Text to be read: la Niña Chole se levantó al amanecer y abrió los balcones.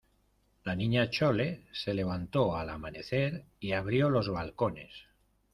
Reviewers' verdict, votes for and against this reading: accepted, 2, 0